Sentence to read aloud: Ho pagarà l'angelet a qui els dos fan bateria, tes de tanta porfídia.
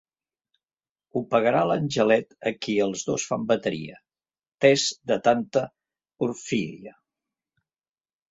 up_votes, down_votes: 0, 3